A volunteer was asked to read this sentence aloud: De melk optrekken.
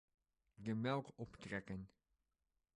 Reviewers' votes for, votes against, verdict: 2, 0, accepted